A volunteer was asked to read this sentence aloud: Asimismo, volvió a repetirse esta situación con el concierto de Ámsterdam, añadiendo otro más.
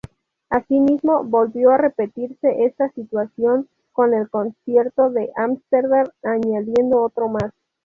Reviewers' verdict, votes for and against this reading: accepted, 2, 0